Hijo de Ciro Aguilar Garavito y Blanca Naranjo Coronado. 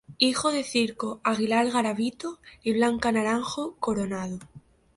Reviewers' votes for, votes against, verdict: 0, 2, rejected